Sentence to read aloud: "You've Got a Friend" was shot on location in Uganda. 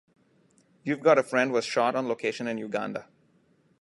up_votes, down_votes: 2, 0